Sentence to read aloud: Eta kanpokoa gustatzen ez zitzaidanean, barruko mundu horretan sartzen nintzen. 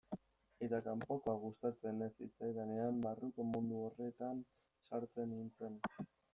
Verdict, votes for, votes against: rejected, 1, 2